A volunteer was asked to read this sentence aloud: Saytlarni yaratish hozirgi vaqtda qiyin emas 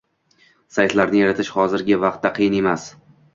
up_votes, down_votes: 2, 0